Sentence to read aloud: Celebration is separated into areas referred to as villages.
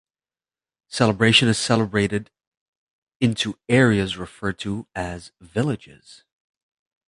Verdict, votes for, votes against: rejected, 1, 2